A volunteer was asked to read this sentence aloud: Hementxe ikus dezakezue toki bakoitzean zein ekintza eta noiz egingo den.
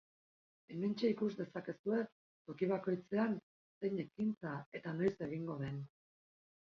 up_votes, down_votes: 0, 2